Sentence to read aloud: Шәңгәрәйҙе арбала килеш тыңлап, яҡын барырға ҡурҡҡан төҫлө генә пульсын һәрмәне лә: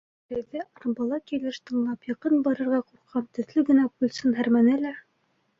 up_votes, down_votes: 1, 2